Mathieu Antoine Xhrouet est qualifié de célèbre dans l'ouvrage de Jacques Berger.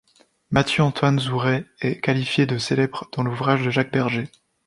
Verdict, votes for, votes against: rejected, 1, 2